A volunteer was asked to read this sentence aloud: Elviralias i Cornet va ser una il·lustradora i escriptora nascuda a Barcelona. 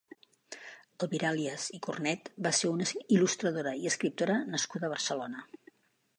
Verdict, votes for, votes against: rejected, 1, 2